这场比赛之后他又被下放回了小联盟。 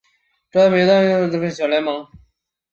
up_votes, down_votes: 0, 2